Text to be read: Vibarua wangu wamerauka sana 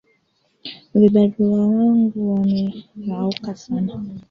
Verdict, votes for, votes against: accepted, 2, 1